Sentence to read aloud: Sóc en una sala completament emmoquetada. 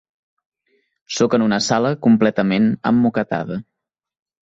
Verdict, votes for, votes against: accepted, 2, 0